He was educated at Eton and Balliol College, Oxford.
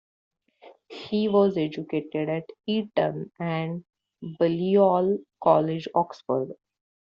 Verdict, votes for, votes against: rejected, 0, 2